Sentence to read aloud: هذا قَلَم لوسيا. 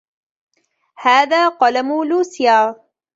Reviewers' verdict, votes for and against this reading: accepted, 2, 0